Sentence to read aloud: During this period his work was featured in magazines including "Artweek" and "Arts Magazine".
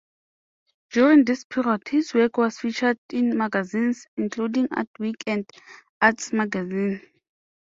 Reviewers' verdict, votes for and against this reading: rejected, 0, 2